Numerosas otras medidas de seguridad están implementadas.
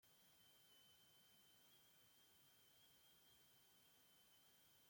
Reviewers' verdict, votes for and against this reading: rejected, 0, 2